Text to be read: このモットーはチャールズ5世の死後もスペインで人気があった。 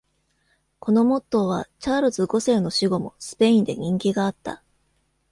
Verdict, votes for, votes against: rejected, 0, 2